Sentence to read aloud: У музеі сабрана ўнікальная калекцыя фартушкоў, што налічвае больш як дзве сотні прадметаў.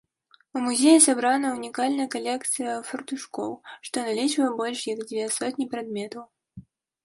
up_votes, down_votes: 2, 0